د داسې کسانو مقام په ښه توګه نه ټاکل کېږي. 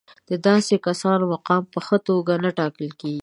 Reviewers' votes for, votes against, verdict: 7, 0, accepted